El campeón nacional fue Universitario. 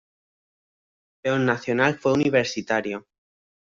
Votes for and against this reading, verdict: 1, 2, rejected